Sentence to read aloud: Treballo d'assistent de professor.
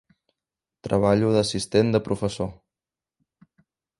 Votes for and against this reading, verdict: 3, 0, accepted